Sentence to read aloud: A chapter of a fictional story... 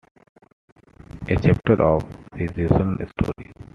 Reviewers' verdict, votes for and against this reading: rejected, 0, 2